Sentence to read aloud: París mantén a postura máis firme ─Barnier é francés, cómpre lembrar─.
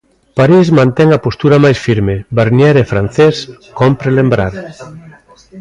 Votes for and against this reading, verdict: 2, 1, accepted